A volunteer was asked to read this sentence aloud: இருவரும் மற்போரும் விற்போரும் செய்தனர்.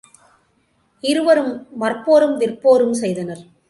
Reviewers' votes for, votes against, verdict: 2, 1, accepted